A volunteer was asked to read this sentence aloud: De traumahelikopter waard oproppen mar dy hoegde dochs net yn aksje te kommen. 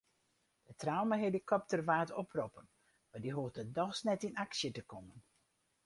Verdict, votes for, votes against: accepted, 4, 2